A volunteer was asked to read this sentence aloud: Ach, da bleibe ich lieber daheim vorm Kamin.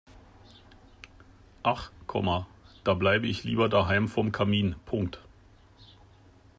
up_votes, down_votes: 0, 2